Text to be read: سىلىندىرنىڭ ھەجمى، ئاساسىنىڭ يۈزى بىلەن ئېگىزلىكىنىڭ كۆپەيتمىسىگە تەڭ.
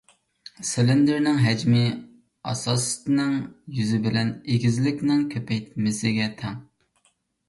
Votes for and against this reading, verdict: 0, 2, rejected